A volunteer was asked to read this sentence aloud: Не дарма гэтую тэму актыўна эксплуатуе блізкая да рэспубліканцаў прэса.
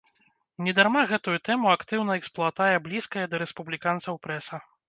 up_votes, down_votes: 0, 3